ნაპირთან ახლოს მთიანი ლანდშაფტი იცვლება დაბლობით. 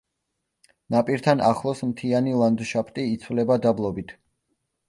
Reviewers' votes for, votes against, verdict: 2, 0, accepted